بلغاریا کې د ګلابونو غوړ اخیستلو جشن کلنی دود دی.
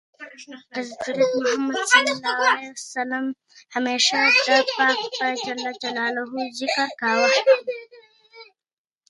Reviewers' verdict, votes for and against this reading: rejected, 1, 2